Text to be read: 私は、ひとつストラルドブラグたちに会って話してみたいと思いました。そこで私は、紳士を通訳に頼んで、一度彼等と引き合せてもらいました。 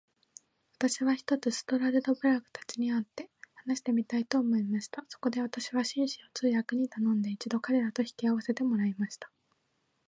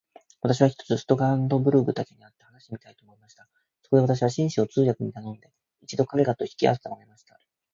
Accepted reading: first